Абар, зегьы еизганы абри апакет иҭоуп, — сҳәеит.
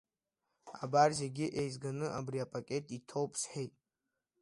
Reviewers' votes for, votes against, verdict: 2, 0, accepted